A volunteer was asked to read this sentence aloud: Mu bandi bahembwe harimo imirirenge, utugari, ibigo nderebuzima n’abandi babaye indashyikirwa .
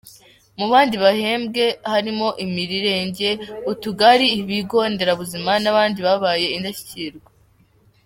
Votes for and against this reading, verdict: 2, 0, accepted